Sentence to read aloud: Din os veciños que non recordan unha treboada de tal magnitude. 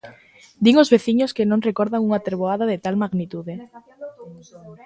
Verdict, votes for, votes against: rejected, 0, 2